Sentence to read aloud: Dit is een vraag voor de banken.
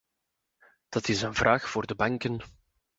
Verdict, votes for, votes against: rejected, 0, 2